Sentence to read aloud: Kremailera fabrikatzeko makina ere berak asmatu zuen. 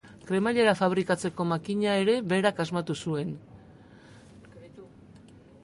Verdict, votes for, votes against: rejected, 2, 2